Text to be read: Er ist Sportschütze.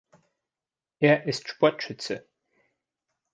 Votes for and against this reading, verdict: 2, 0, accepted